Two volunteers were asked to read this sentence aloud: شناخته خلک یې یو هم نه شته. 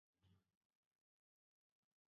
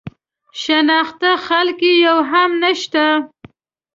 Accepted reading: second